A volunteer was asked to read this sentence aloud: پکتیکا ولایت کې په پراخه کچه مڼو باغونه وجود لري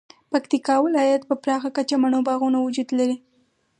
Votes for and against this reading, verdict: 4, 0, accepted